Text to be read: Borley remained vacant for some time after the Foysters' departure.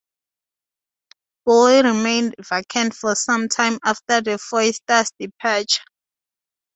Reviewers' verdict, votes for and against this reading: rejected, 0, 2